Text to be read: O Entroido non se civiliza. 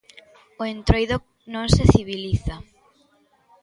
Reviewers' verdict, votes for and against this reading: accepted, 2, 0